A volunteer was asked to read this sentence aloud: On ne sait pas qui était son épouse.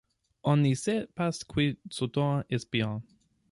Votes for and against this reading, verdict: 0, 2, rejected